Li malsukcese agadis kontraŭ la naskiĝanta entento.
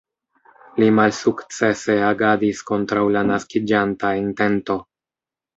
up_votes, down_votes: 0, 2